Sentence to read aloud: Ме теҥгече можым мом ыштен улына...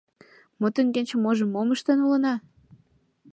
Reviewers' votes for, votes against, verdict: 2, 1, accepted